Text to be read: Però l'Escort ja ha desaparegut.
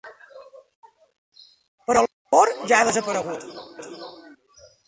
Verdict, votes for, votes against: rejected, 1, 2